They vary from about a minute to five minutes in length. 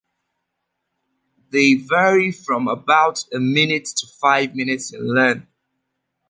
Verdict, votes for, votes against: accepted, 2, 0